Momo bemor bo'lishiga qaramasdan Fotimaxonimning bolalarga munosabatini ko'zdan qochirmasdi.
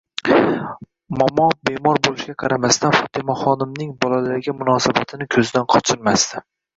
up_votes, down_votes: 0, 2